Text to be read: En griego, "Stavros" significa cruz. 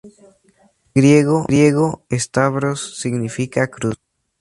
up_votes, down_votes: 0, 2